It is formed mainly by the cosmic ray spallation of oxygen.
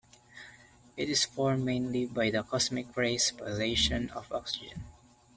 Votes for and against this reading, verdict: 1, 2, rejected